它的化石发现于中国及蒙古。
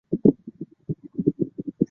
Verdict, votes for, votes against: rejected, 2, 6